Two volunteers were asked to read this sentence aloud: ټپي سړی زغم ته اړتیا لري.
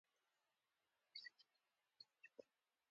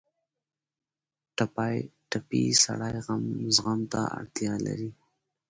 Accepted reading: second